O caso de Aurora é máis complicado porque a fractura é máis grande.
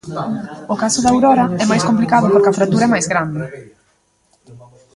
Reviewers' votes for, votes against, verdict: 0, 2, rejected